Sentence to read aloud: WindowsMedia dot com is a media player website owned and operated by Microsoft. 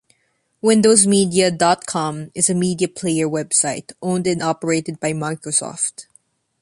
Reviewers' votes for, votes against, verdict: 2, 0, accepted